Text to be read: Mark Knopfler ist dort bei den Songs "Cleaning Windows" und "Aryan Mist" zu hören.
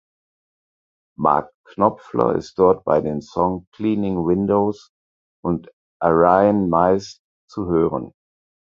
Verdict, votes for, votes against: rejected, 2, 4